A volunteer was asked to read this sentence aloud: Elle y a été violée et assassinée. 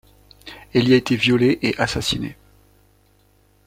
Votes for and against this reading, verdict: 2, 0, accepted